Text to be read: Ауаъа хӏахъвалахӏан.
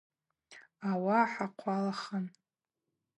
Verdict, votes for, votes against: rejected, 2, 4